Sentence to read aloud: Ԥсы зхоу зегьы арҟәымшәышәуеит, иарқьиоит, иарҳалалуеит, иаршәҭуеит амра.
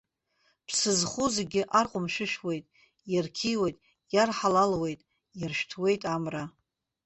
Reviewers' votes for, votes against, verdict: 2, 1, accepted